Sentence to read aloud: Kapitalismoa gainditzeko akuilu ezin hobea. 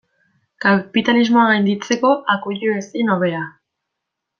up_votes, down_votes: 2, 0